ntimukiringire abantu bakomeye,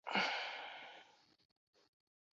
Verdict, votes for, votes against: rejected, 0, 2